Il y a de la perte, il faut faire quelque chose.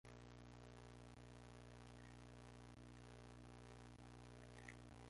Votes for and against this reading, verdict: 0, 2, rejected